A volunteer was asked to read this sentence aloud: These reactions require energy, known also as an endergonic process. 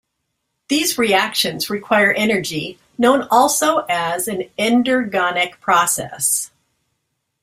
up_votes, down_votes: 2, 0